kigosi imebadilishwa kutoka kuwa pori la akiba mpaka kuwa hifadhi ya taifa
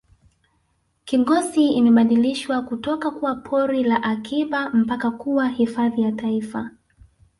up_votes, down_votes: 0, 2